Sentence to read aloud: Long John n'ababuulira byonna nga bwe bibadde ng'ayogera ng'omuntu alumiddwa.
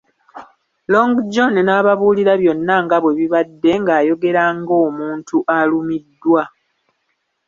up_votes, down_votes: 1, 2